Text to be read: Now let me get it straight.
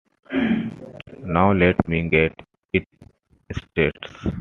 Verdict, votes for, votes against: rejected, 1, 2